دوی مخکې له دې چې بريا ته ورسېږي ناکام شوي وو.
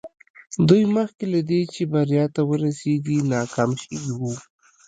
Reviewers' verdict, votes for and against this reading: accepted, 2, 0